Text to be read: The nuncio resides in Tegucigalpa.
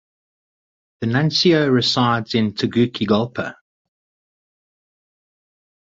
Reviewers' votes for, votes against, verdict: 4, 0, accepted